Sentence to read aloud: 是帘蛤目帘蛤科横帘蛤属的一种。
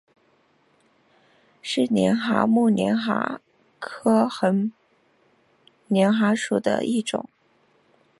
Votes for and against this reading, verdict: 2, 0, accepted